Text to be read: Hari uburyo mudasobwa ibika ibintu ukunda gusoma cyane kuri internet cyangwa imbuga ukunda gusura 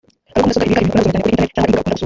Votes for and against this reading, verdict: 0, 2, rejected